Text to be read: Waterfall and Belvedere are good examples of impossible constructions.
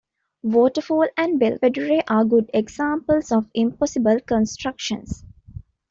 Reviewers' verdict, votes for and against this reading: rejected, 0, 2